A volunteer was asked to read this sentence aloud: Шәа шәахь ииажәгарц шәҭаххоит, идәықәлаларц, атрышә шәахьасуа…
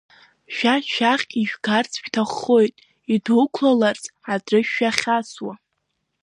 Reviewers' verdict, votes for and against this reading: accepted, 2, 1